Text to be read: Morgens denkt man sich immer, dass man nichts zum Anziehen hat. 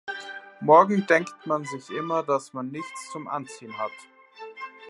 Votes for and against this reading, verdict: 1, 2, rejected